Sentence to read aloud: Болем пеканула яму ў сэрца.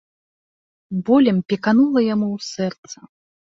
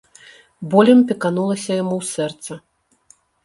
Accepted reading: first